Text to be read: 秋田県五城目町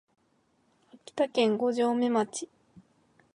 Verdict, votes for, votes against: accepted, 4, 2